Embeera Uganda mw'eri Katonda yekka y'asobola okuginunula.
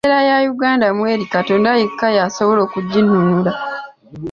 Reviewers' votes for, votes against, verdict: 0, 2, rejected